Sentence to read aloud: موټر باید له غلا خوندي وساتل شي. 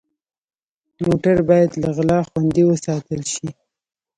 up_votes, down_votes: 1, 2